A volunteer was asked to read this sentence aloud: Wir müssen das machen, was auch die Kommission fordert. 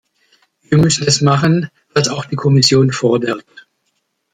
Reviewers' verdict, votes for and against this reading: accepted, 2, 1